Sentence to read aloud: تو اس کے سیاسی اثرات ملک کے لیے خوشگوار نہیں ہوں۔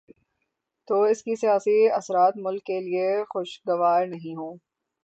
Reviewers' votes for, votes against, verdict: 6, 0, accepted